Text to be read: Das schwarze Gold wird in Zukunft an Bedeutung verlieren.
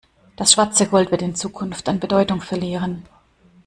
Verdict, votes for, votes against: accepted, 2, 0